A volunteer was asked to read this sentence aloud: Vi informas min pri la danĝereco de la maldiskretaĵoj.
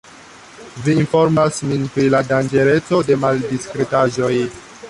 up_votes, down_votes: 1, 2